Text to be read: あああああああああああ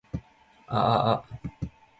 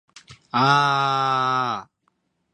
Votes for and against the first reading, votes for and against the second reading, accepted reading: 0, 2, 3, 0, second